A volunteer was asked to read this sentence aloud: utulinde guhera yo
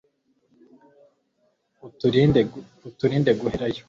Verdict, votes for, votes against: rejected, 0, 2